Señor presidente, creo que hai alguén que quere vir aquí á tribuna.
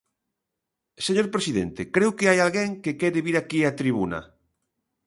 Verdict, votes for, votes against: accepted, 2, 0